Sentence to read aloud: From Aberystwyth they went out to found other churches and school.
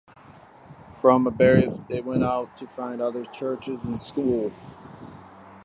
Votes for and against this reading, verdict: 2, 0, accepted